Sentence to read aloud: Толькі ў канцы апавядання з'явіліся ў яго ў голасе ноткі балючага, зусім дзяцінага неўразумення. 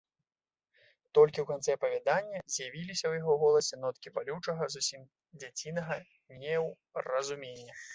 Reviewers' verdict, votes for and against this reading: rejected, 1, 2